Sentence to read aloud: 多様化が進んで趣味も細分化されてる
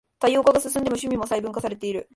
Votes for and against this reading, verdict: 0, 2, rejected